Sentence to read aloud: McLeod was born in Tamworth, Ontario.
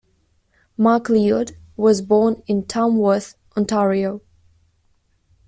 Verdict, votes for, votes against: rejected, 1, 2